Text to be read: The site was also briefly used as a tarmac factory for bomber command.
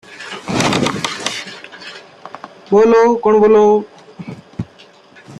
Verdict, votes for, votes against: rejected, 0, 2